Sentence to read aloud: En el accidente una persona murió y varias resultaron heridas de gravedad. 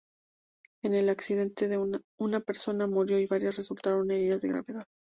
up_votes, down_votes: 0, 4